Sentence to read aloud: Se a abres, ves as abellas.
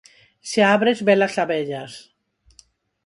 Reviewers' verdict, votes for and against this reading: accepted, 4, 0